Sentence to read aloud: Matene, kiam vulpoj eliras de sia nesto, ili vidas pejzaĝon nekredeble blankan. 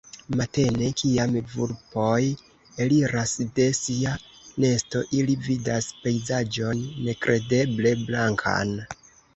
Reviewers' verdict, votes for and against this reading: rejected, 1, 2